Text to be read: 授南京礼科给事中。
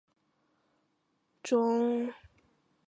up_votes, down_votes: 1, 2